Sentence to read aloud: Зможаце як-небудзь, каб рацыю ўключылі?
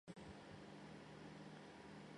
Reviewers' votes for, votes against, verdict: 0, 2, rejected